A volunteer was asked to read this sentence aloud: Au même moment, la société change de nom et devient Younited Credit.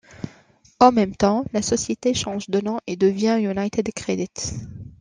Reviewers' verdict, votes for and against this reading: rejected, 1, 2